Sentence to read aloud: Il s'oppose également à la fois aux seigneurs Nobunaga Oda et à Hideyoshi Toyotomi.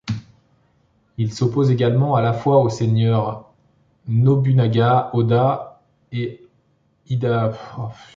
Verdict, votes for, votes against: rejected, 0, 2